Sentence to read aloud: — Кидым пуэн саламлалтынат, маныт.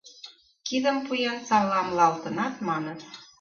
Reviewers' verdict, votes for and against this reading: rejected, 3, 4